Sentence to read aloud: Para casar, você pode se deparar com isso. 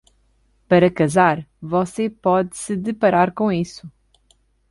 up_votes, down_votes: 2, 0